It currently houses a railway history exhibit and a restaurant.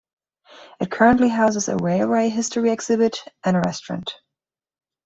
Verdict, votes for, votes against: accepted, 2, 1